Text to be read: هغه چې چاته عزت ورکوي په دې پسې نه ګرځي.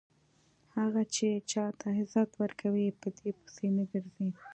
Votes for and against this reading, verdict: 2, 0, accepted